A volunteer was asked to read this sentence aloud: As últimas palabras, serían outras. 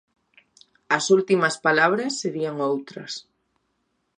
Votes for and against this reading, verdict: 2, 0, accepted